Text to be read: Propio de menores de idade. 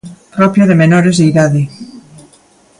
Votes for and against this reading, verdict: 2, 0, accepted